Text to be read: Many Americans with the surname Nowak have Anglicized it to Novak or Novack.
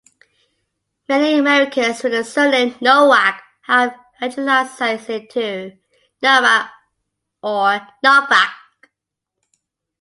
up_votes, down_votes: 3, 0